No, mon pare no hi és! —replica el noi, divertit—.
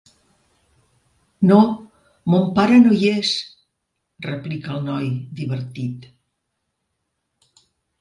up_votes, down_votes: 3, 0